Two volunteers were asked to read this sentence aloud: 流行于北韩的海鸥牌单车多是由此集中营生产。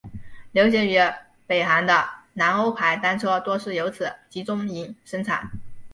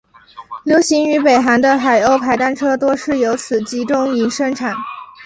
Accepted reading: second